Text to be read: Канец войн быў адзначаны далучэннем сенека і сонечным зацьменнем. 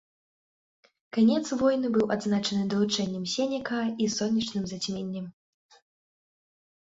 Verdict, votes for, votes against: accepted, 2, 0